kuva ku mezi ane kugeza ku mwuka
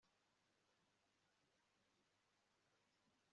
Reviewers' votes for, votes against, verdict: 1, 2, rejected